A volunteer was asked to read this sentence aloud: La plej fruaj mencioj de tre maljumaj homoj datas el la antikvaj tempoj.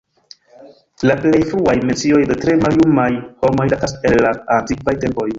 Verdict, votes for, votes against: rejected, 1, 2